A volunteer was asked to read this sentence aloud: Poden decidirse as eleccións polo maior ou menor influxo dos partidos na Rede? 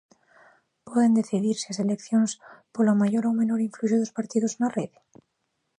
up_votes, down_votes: 1, 2